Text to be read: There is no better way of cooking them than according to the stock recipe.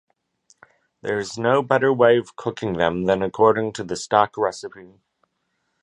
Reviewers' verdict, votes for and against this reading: accepted, 2, 0